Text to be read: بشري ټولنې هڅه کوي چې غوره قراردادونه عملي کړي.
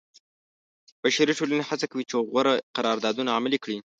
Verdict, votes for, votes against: accepted, 2, 0